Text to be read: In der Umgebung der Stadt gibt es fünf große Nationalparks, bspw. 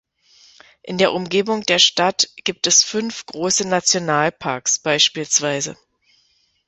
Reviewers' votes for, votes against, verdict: 2, 1, accepted